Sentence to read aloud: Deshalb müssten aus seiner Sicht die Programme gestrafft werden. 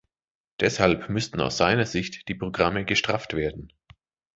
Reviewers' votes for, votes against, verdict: 2, 0, accepted